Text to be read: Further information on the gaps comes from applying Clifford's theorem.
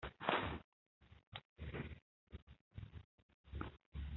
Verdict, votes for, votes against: rejected, 0, 2